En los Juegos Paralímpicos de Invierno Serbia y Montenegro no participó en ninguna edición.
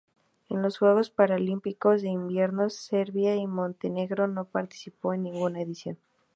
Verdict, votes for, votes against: accepted, 2, 0